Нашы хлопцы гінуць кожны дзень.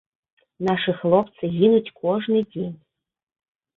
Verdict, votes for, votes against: accepted, 2, 0